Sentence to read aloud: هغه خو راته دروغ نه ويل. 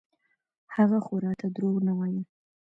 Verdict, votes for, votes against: rejected, 0, 2